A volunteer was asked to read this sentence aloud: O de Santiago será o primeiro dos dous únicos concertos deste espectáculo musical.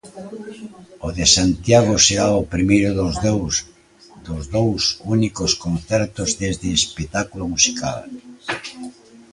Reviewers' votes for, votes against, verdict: 1, 2, rejected